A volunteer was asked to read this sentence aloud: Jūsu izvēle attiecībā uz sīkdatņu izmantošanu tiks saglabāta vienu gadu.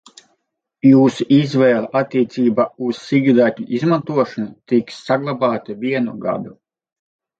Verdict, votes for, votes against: accepted, 4, 0